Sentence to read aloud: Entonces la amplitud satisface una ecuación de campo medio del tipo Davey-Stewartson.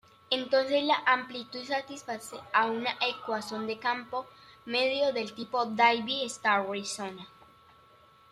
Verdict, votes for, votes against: accepted, 2, 0